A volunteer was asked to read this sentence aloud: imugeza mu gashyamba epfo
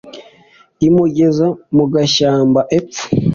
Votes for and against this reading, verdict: 2, 0, accepted